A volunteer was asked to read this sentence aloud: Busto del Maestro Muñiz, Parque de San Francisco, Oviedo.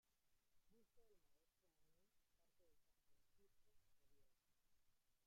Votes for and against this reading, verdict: 0, 2, rejected